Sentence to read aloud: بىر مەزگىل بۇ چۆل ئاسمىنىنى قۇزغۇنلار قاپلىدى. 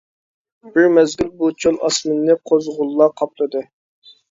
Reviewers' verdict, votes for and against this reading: rejected, 0, 2